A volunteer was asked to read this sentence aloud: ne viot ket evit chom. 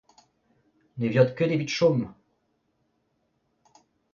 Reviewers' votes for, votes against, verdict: 2, 0, accepted